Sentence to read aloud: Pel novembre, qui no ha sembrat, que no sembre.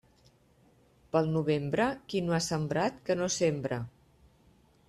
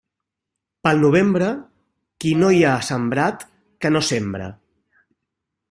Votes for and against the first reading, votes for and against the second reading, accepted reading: 2, 0, 0, 2, first